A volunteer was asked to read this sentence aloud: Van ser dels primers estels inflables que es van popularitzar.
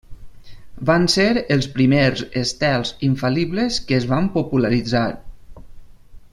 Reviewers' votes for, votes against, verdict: 0, 2, rejected